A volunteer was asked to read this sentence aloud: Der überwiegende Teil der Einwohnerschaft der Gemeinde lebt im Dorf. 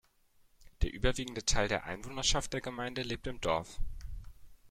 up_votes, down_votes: 1, 2